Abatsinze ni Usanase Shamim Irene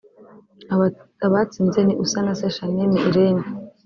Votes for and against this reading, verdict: 1, 2, rejected